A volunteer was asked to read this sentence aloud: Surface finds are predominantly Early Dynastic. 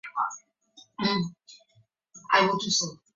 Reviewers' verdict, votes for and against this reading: rejected, 0, 2